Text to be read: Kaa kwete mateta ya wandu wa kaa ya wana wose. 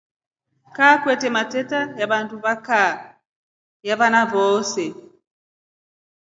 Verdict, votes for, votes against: accepted, 2, 1